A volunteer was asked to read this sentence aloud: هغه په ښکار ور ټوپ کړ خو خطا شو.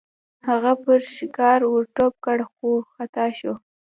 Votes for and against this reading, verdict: 0, 2, rejected